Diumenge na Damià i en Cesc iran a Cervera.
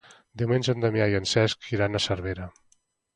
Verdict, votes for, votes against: accepted, 2, 1